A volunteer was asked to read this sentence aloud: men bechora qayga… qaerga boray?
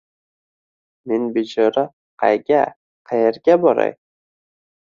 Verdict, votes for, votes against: accepted, 2, 0